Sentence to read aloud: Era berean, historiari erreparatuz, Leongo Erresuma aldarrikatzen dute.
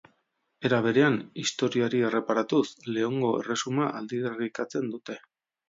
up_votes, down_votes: 0, 2